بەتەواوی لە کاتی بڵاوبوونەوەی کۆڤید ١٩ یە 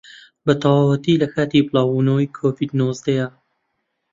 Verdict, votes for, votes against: rejected, 0, 2